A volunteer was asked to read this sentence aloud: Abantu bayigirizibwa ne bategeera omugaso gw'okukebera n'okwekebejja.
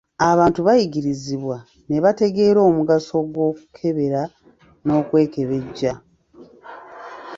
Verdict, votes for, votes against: rejected, 1, 2